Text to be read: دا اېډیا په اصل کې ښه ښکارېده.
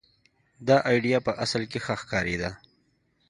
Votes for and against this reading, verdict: 2, 0, accepted